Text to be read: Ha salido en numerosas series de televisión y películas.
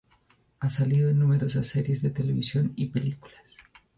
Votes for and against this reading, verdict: 2, 0, accepted